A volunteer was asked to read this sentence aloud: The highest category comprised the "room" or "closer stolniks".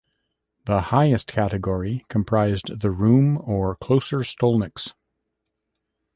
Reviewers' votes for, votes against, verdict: 1, 2, rejected